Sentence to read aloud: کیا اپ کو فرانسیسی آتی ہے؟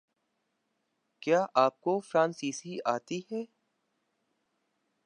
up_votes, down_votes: 5, 1